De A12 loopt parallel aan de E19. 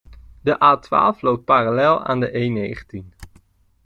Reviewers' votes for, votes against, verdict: 0, 2, rejected